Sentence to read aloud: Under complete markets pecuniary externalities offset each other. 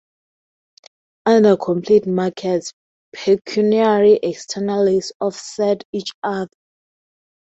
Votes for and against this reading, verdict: 0, 2, rejected